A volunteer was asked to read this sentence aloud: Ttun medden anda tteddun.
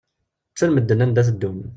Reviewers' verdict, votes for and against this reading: rejected, 1, 2